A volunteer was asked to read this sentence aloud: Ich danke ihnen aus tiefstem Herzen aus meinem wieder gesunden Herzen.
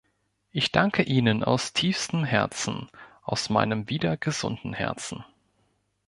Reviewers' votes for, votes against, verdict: 2, 0, accepted